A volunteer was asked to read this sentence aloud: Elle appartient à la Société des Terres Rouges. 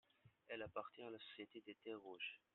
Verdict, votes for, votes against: rejected, 0, 2